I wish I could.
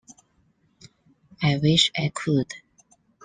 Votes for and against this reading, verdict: 2, 0, accepted